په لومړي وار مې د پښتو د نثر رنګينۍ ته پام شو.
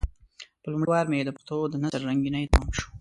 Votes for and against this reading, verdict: 1, 2, rejected